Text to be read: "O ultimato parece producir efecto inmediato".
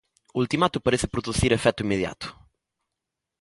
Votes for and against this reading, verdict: 2, 0, accepted